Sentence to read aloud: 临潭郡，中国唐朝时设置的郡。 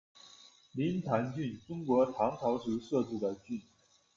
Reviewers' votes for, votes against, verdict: 2, 0, accepted